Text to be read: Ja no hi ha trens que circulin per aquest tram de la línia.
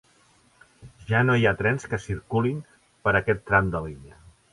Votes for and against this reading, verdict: 0, 2, rejected